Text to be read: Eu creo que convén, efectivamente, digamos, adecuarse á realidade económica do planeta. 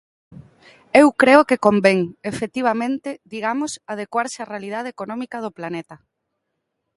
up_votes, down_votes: 2, 0